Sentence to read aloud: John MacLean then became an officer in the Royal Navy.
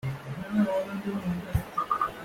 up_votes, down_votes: 0, 2